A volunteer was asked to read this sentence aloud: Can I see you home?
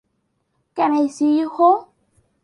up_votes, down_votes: 2, 0